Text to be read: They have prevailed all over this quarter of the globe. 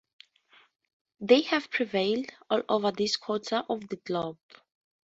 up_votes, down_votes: 2, 0